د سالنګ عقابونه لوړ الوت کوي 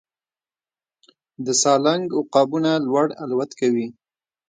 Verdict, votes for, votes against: accepted, 2, 1